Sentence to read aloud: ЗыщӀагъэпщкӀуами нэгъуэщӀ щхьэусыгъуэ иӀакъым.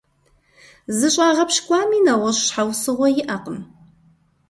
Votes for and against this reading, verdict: 1, 2, rejected